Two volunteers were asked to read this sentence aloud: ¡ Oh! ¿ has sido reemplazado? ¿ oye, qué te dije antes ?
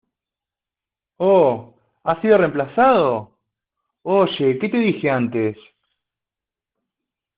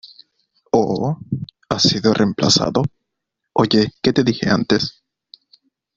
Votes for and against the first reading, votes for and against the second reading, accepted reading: 1, 2, 2, 0, second